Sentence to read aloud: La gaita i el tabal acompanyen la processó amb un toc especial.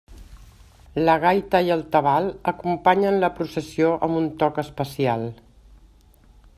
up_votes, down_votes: 1, 2